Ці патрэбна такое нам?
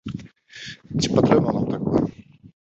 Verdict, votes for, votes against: rejected, 0, 2